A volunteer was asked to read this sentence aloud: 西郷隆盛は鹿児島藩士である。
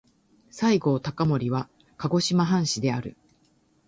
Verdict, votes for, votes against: rejected, 1, 2